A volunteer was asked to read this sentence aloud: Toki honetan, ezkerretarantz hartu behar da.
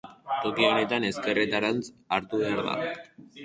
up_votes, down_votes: 2, 0